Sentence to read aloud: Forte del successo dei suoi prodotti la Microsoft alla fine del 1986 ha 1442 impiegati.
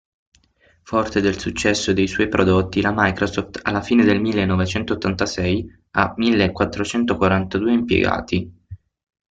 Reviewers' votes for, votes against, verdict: 0, 2, rejected